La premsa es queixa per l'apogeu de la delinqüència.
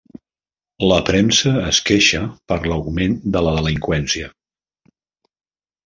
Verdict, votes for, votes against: rejected, 0, 2